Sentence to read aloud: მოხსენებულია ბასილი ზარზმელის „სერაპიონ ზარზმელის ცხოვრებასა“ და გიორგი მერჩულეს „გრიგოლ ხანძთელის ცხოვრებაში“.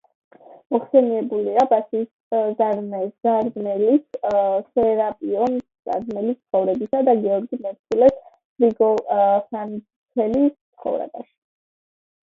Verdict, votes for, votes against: accepted, 2, 0